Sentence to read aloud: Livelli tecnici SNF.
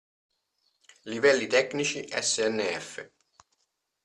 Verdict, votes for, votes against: accepted, 2, 0